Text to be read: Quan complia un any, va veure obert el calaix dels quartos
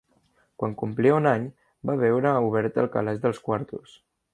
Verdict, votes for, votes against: accepted, 3, 0